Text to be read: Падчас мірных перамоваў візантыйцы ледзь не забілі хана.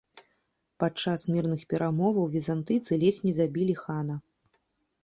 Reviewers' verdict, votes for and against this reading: accepted, 2, 0